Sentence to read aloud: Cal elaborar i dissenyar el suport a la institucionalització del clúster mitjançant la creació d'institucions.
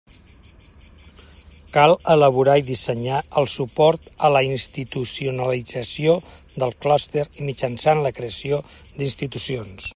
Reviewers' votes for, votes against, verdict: 1, 2, rejected